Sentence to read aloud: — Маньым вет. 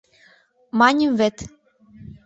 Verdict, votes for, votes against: accepted, 2, 0